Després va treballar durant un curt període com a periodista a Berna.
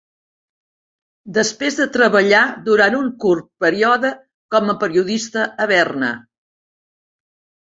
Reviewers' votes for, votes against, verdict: 0, 2, rejected